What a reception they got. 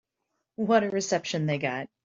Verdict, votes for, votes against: accepted, 2, 0